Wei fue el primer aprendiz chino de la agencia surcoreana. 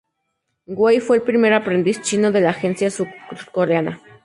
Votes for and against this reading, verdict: 0, 2, rejected